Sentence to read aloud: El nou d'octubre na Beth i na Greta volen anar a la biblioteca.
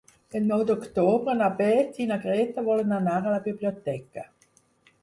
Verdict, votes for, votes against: rejected, 2, 4